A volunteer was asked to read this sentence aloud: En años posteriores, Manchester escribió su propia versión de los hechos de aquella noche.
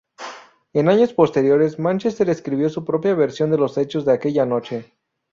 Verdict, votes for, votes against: accepted, 2, 0